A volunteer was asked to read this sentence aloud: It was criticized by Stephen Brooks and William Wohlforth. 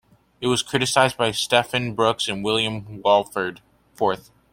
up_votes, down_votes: 1, 2